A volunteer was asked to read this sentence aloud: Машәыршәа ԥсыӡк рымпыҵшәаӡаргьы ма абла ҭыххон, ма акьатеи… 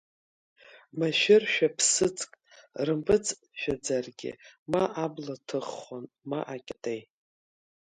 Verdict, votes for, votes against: accepted, 2, 0